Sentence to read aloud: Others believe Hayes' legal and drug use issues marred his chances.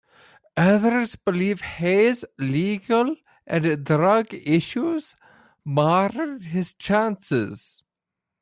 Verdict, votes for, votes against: rejected, 1, 2